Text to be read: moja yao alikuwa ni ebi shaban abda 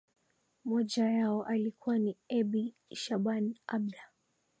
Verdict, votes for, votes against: accepted, 2, 0